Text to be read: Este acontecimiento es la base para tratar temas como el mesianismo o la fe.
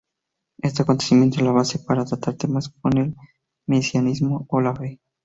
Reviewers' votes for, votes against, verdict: 2, 0, accepted